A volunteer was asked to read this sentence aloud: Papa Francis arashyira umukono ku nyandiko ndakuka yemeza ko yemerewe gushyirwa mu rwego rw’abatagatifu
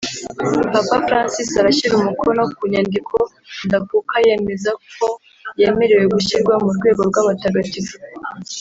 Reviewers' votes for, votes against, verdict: 2, 1, accepted